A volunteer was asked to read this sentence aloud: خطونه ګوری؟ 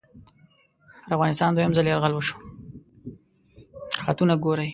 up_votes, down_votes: 1, 2